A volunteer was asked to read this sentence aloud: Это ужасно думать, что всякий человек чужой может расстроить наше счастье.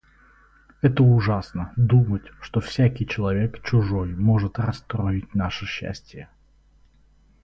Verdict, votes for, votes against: rejected, 2, 2